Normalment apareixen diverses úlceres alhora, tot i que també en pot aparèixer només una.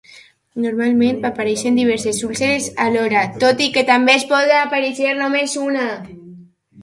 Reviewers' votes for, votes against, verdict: 1, 2, rejected